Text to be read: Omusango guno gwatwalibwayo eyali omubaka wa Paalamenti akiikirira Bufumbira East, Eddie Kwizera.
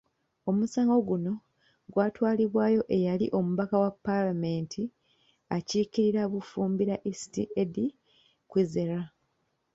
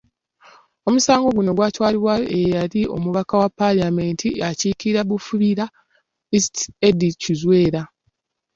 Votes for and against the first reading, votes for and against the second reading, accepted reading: 2, 0, 0, 2, first